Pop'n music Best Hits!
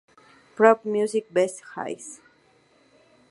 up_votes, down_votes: 2, 0